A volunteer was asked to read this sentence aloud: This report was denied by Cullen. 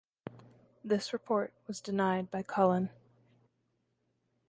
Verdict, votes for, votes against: accepted, 2, 0